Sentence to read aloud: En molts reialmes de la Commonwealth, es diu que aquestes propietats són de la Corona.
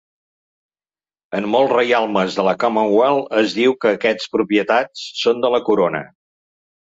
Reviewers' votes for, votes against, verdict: 1, 2, rejected